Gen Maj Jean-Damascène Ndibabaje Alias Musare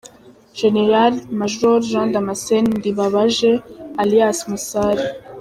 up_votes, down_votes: 2, 0